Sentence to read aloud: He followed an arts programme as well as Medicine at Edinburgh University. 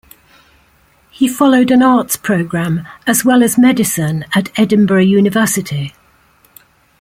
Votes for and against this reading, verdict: 2, 0, accepted